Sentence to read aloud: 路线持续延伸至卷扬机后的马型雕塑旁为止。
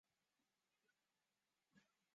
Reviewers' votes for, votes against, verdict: 5, 3, accepted